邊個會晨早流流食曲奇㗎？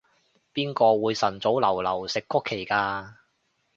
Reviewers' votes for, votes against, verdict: 2, 0, accepted